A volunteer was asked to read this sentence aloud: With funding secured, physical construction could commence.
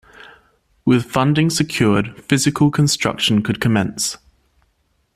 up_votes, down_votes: 2, 0